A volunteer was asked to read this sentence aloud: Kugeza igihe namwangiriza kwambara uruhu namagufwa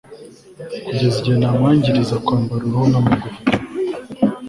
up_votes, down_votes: 2, 0